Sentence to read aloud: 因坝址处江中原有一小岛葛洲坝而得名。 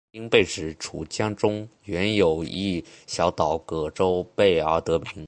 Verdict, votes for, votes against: accepted, 2, 0